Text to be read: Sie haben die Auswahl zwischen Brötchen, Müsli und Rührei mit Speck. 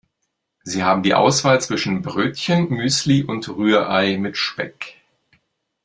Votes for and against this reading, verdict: 2, 0, accepted